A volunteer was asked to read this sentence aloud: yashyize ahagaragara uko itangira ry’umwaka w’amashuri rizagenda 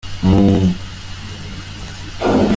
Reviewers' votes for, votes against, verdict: 0, 2, rejected